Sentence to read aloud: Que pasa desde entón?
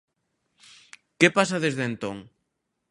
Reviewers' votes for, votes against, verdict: 3, 0, accepted